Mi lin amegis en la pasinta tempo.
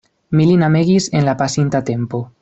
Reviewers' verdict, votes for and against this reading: accepted, 2, 0